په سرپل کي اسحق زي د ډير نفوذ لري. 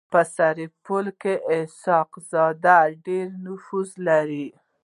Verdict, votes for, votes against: rejected, 0, 2